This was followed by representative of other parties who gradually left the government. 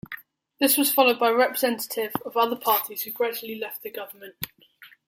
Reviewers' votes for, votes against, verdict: 2, 1, accepted